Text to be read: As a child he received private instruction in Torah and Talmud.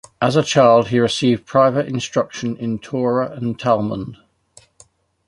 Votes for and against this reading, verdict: 2, 0, accepted